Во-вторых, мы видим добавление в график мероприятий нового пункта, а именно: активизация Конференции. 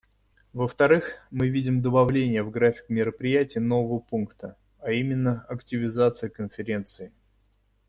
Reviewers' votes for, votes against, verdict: 2, 0, accepted